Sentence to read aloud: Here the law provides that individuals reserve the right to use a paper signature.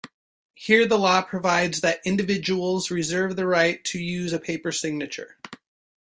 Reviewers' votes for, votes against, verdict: 2, 0, accepted